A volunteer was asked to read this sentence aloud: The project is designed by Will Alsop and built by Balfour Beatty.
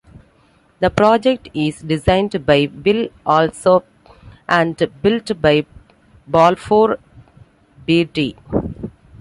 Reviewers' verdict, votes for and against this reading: accepted, 2, 0